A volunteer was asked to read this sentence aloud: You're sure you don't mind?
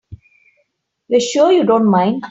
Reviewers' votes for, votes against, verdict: 3, 0, accepted